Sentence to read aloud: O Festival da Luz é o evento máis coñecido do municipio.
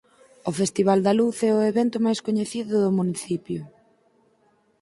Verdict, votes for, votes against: accepted, 4, 0